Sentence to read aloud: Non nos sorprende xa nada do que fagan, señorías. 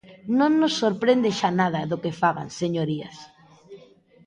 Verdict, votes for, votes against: rejected, 1, 2